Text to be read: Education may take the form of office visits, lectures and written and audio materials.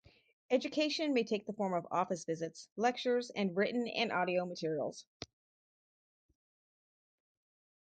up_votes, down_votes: 4, 0